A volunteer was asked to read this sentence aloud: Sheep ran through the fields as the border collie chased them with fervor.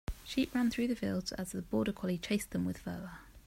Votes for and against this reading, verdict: 2, 0, accepted